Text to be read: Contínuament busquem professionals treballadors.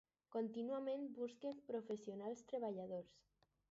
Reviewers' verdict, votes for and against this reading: rejected, 0, 4